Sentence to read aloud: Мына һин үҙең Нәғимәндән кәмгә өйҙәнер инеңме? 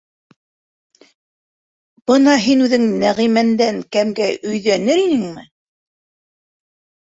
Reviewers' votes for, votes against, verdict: 0, 2, rejected